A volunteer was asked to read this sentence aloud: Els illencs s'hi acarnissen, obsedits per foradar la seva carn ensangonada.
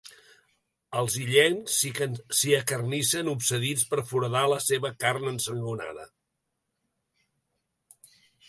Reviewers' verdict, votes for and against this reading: rejected, 1, 2